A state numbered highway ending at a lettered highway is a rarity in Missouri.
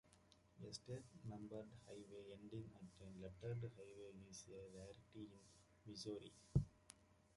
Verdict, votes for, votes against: accepted, 2, 1